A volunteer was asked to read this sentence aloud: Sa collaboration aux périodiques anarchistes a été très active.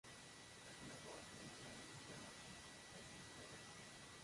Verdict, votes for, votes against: rejected, 0, 2